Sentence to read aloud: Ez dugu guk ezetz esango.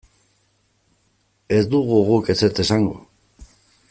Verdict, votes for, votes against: accepted, 2, 0